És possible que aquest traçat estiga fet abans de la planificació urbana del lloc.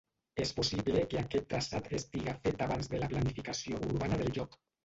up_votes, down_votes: 1, 2